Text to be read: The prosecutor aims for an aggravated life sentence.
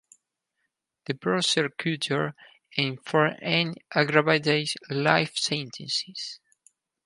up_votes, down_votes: 2, 4